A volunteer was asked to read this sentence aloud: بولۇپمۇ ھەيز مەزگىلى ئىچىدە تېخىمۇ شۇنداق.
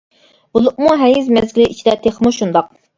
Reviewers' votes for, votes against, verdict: 2, 0, accepted